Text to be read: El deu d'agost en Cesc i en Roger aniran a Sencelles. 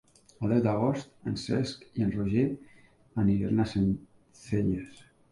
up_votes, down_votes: 0, 2